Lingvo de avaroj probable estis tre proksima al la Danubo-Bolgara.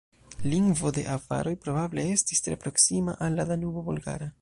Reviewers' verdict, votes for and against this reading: accepted, 2, 0